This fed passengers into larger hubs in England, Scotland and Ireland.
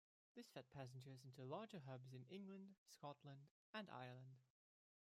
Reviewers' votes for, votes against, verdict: 0, 2, rejected